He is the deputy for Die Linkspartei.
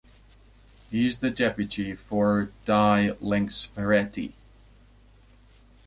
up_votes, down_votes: 0, 2